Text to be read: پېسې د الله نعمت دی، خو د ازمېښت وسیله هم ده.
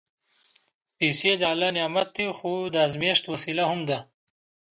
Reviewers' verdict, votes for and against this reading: accepted, 2, 0